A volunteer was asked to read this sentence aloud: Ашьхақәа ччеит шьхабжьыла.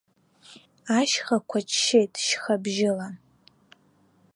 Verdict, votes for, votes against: accepted, 2, 1